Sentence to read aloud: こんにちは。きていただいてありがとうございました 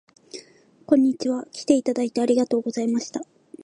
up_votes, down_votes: 2, 0